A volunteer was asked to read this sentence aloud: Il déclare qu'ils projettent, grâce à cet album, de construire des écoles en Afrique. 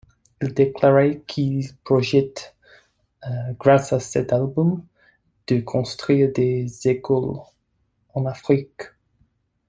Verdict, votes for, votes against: rejected, 1, 2